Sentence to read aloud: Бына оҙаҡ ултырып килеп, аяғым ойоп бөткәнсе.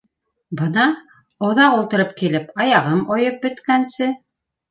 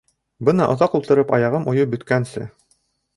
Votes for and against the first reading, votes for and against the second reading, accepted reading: 2, 0, 1, 2, first